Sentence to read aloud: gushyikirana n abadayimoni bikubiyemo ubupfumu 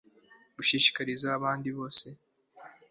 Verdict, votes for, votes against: rejected, 0, 2